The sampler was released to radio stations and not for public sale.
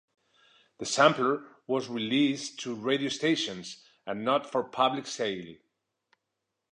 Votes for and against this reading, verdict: 2, 0, accepted